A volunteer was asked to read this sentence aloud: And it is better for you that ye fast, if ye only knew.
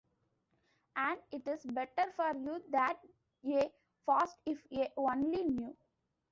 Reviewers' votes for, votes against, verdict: 2, 1, accepted